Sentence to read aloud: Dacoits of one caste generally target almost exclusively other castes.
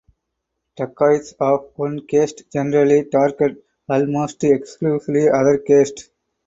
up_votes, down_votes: 4, 0